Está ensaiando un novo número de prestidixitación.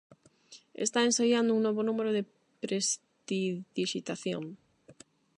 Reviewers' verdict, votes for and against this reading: rejected, 0, 8